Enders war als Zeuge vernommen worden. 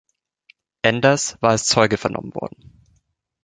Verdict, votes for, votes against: accepted, 2, 0